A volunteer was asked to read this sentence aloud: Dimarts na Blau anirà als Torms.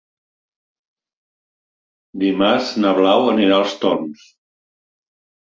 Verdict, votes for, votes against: accepted, 2, 0